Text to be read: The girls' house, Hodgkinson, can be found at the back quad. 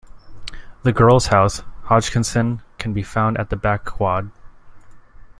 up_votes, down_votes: 1, 2